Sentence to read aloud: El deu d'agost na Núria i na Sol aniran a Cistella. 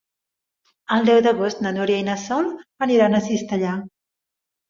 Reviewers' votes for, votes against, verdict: 0, 2, rejected